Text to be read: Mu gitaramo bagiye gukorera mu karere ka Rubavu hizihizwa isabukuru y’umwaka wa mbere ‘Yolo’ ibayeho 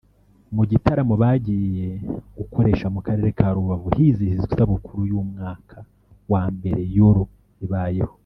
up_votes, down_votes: 0, 2